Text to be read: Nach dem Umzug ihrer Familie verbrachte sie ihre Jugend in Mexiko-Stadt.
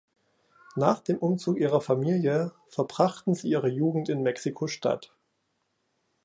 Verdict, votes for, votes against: rejected, 1, 2